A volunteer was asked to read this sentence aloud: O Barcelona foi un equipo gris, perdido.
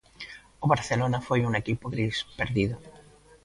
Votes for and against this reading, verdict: 2, 0, accepted